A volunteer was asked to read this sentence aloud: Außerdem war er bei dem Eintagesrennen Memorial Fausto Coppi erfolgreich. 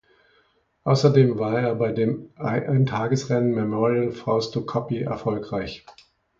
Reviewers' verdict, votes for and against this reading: rejected, 0, 2